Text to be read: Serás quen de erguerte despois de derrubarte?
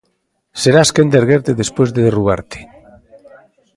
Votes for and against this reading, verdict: 0, 2, rejected